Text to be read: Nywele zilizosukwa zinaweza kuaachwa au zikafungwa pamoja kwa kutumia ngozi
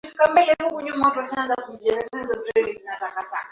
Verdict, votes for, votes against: rejected, 0, 2